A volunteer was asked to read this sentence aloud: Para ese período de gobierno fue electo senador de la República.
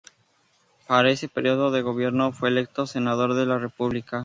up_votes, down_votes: 2, 0